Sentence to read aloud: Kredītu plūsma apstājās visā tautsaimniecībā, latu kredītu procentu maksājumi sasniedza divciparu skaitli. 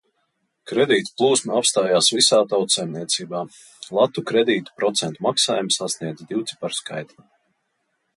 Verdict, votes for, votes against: accepted, 2, 0